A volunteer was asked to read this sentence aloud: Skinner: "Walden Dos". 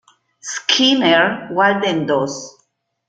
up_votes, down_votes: 1, 2